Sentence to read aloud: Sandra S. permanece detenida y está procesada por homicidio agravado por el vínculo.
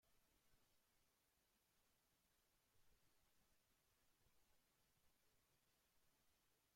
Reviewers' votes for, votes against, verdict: 0, 2, rejected